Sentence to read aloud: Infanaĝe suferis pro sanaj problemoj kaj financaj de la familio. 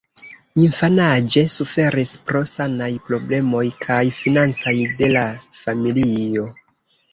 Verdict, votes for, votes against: rejected, 1, 2